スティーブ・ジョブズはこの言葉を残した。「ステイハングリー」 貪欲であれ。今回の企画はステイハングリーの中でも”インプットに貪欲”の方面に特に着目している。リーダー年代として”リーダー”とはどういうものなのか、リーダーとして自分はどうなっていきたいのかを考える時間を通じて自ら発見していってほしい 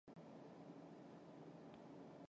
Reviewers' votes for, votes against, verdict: 0, 2, rejected